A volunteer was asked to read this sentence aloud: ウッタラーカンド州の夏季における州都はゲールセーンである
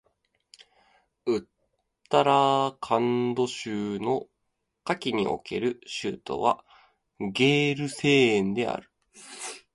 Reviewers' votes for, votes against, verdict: 2, 0, accepted